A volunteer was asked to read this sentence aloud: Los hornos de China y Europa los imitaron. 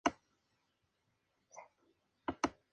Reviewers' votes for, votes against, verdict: 0, 2, rejected